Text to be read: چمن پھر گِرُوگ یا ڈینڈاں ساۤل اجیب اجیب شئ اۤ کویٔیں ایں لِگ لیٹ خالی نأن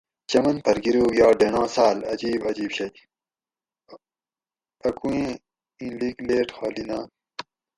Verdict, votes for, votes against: rejected, 2, 2